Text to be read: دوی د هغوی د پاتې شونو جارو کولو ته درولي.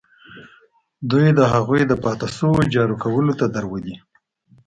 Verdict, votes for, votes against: accepted, 2, 0